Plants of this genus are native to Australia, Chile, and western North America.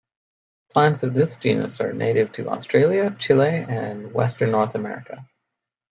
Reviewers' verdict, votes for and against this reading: accepted, 2, 0